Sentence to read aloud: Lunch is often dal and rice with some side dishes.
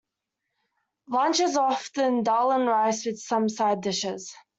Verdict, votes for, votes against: accepted, 2, 1